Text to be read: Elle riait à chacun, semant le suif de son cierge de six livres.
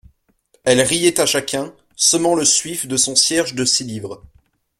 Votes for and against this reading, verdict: 2, 0, accepted